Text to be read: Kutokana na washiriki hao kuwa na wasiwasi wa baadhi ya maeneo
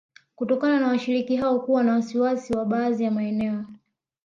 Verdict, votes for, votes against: accepted, 2, 0